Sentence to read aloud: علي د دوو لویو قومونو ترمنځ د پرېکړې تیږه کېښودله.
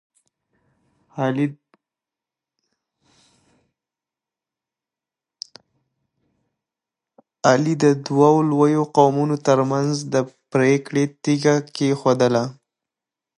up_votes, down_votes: 0, 2